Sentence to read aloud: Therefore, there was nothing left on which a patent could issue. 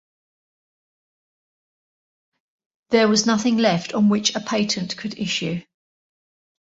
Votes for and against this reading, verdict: 0, 2, rejected